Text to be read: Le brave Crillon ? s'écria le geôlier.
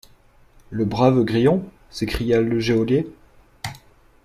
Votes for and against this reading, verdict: 0, 2, rejected